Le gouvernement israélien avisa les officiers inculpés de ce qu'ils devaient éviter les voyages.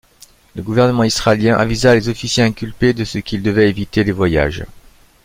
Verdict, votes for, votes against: accepted, 2, 0